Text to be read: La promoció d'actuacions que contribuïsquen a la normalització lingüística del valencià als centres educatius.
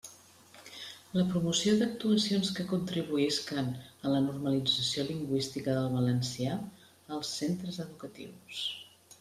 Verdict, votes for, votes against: accepted, 2, 0